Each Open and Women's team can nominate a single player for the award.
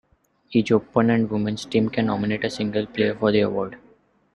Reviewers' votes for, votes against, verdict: 0, 2, rejected